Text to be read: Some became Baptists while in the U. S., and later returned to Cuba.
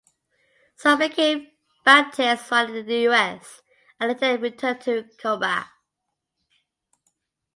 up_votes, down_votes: 0, 2